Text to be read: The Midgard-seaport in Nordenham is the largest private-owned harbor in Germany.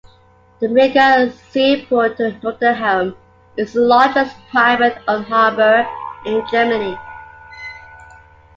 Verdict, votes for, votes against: accepted, 2, 1